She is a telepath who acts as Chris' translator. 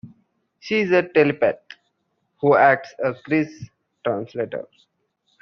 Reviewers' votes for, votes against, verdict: 2, 0, accepted